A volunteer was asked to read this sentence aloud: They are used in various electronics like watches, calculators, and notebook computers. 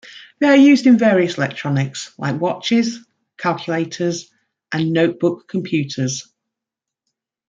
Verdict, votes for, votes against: accepted, 2, 0